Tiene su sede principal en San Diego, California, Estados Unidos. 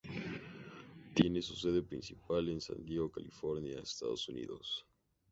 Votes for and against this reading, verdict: 2, 0, accepted